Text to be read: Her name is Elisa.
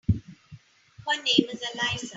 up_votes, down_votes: 0, 2